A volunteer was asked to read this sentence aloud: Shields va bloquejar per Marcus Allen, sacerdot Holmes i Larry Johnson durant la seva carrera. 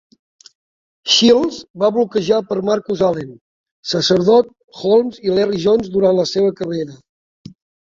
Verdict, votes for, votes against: rejected, 1, 2